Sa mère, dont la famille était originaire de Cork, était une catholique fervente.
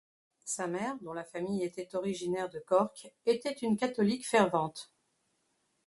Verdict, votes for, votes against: rejected, 1, 2